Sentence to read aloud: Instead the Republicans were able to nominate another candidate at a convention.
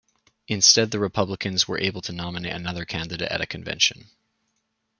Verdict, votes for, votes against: rejected, 0, 2